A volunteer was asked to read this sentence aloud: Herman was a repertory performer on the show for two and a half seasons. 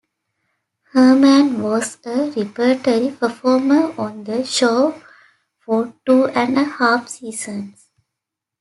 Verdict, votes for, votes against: accepted, 2, 0